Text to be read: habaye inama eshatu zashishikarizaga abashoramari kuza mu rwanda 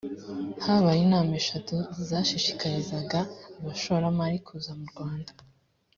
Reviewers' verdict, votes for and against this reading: accepted, 2, 0